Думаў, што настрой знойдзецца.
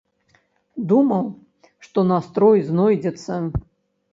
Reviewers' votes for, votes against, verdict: 2, 0, accepted